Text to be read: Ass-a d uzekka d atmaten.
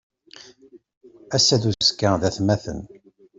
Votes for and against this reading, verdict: 2, 0, accepted